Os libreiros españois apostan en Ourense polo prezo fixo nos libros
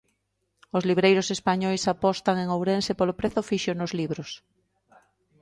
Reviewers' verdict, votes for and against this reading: accepted, 2, 0